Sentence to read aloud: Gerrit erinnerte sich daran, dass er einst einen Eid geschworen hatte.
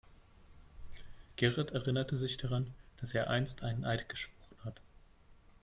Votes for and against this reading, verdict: 1, 2, rejected